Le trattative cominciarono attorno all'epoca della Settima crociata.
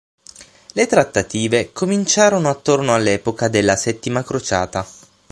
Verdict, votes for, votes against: accepted, 6, 0